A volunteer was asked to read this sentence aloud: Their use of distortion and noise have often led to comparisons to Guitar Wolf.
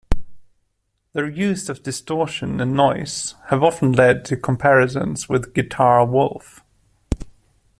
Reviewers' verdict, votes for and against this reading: accepted, 2, 0